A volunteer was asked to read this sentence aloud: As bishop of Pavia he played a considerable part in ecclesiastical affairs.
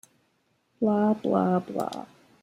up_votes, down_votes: 0, 2